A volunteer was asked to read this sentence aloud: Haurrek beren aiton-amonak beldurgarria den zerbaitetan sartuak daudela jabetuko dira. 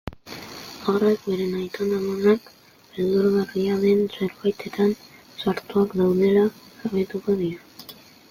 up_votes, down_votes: 2, 0